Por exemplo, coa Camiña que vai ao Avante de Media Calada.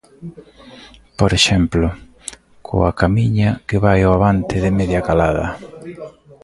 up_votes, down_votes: 1, 2